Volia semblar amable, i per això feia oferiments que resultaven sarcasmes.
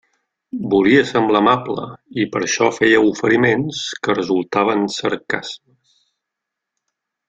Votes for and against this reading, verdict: 1, 2, rejected